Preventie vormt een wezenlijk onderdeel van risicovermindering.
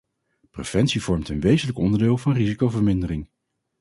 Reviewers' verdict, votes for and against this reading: accepted, 4, 0